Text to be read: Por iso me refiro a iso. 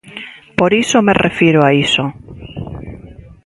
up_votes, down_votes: 1, 2